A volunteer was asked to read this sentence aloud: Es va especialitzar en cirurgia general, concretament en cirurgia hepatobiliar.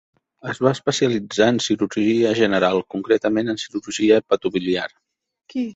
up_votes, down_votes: 1, 2